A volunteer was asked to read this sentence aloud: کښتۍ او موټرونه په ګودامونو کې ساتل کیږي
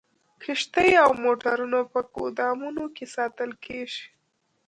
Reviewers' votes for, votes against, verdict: 1, 2, rejected